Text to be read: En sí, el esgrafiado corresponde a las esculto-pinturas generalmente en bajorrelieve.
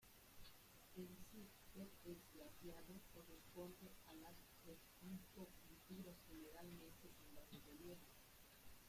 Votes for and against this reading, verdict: 0, 2, rejected